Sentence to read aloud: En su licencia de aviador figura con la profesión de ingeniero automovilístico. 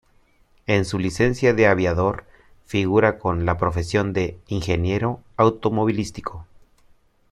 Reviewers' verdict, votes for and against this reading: accepted, 2, 0